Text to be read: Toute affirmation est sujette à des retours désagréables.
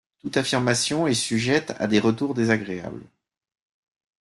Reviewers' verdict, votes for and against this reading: accepted, 2, 0